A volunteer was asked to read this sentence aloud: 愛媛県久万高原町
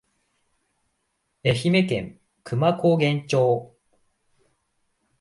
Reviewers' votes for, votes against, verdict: 2, 0, accepted